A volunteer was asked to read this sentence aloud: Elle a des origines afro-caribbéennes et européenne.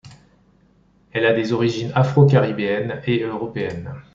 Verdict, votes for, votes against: accepted, 2, 0